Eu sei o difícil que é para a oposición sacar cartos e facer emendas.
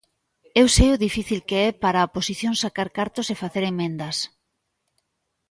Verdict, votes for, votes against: accepted, 2, 1